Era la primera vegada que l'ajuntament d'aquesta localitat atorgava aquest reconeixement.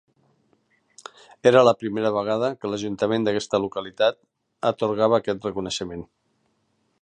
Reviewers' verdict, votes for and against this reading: accepted, 2, 0